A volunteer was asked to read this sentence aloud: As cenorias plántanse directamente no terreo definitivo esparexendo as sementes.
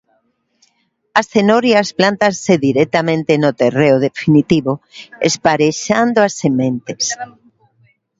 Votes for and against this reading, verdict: 0, 2, rejected